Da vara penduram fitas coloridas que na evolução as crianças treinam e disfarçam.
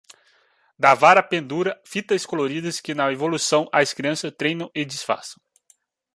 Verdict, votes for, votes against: rejected, 0, 2